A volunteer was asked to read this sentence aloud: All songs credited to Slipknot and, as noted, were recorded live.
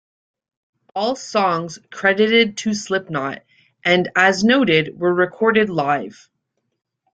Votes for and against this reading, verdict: 2, 0, accepted